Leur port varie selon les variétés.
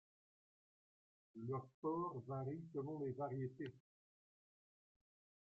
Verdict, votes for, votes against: rejected, 1, 2